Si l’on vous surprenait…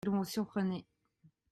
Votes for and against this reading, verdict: 1, 2, rejected